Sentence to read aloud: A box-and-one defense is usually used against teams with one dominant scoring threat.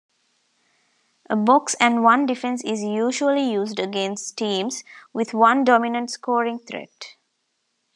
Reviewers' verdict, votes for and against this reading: accepted, 2, 1